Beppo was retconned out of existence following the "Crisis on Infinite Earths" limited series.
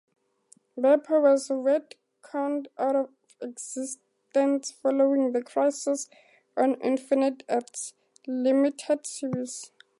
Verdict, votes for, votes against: accepted, 2, 0